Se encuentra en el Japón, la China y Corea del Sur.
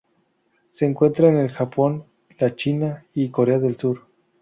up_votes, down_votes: 2, 0